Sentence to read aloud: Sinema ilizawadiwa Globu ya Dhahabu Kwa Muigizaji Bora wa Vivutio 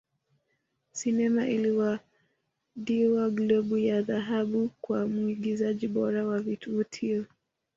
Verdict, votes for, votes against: rejected, 0, 2